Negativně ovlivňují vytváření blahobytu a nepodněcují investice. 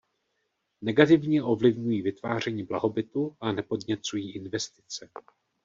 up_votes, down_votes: 1, 2